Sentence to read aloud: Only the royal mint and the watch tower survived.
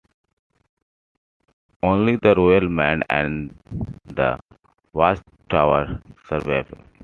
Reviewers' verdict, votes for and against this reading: rejected, 0, 2